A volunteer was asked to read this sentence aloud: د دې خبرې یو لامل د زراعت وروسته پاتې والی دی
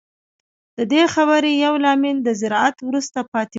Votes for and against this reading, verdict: 2, 0, accepted